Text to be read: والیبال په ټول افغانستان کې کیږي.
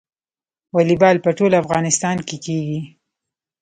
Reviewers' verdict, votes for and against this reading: rejected, 0, 2